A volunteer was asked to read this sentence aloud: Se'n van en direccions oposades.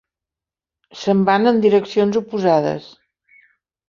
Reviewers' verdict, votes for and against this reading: accepted, 2, 0